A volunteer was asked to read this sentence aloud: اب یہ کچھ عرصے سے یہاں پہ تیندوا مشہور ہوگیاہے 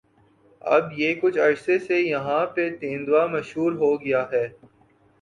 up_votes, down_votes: 1, 3